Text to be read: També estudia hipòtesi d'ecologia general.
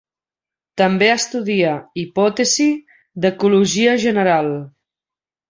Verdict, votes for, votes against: accepted, 3, 0